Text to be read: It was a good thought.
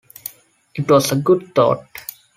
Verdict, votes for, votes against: accepted, 2, 0